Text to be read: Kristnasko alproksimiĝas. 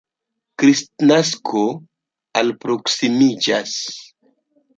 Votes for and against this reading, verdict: 2, 0, accepted